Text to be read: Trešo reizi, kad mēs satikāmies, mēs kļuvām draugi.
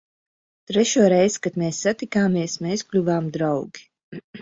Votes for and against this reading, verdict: 2, 0, accepted